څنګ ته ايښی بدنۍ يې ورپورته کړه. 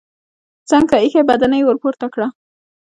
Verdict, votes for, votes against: accepted, 2, 0